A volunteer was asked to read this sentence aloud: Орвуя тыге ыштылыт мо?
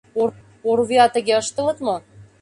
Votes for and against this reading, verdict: 1, 2, rejected